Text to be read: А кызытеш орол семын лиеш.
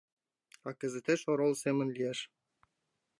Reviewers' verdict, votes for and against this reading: accepted, 2, 1